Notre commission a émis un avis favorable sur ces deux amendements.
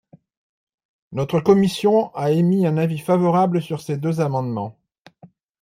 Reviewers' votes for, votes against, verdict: 2, 0, accepted